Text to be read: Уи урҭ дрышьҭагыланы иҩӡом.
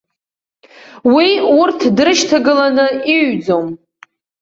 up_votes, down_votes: 0, 2